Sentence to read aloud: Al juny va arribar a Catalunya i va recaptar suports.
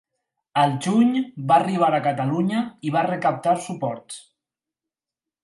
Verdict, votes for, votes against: accepted, 6, 0